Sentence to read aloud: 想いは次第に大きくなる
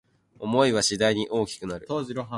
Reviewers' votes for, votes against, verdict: 2, 2, rejected